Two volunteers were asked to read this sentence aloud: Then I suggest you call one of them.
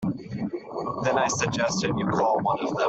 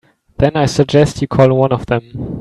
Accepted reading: second